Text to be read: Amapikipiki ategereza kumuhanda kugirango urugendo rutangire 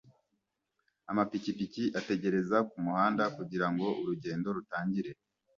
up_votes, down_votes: 2, 0